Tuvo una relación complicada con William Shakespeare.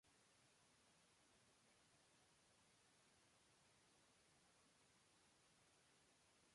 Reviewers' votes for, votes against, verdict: 0, 2, rejected